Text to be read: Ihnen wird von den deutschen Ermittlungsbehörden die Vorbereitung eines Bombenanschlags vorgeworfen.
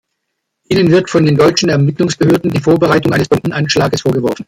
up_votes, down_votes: 2, 0